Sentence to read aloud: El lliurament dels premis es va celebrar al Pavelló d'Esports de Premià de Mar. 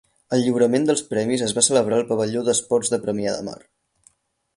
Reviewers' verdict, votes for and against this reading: accepted, 4, 0